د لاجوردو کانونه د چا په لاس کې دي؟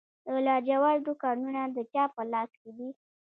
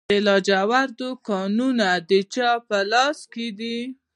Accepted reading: first